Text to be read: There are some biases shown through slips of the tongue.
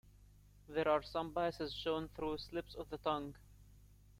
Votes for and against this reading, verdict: 0, 2, rejected